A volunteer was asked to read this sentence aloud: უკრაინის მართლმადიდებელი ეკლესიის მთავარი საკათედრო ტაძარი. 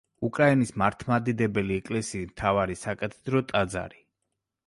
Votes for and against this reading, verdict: 1, 2, rejected